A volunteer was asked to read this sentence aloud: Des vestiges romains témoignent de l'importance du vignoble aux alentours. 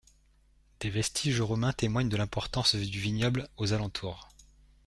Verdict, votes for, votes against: rejected, 0, 2